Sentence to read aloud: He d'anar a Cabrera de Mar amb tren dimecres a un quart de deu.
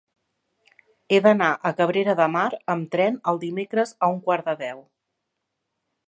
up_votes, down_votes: 1, 2